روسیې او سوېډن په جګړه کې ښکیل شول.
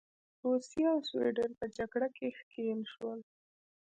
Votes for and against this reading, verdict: 2, 1, accepted